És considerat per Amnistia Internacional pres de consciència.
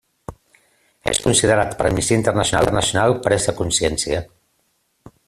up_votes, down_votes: 0, 2